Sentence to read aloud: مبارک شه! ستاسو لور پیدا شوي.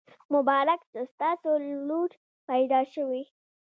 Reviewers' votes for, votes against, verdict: 2, 1, accepted